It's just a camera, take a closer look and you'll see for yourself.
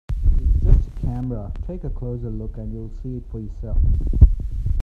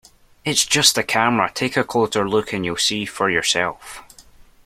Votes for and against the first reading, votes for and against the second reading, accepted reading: 1, 2, 2, 0, second